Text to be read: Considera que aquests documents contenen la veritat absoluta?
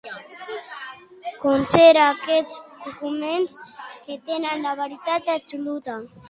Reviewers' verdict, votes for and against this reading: rejected, 0, 2